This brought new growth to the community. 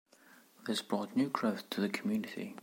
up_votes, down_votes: 2, 1